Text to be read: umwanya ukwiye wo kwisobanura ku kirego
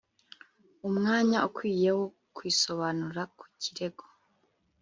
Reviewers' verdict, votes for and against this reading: accepted, 4, 0